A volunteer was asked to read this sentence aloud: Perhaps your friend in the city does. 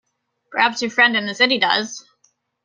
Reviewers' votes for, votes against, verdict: 2, 0, accepted